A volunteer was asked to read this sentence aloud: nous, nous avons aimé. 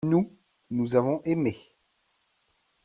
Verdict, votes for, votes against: accepted, 2, 0